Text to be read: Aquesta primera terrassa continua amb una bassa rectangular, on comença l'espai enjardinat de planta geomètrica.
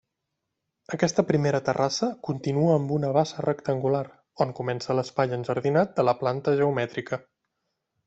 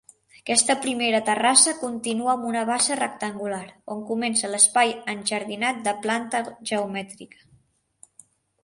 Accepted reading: second